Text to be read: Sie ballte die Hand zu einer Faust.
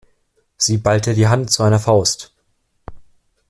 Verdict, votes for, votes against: accepted, 2, 0